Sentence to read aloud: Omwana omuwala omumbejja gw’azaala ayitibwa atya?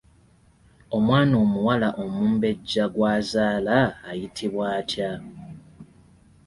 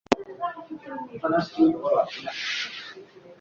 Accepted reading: first